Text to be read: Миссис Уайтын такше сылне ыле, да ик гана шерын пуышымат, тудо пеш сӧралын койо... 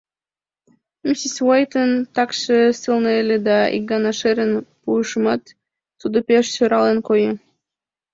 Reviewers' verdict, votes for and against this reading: accepted, 2, 0